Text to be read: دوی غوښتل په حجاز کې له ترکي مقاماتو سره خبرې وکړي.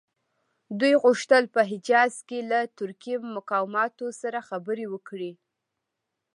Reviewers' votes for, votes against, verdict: 2, 0, accepted